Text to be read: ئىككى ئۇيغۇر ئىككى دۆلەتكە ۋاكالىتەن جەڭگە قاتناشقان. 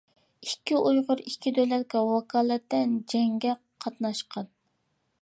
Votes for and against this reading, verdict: 2, 0, accepted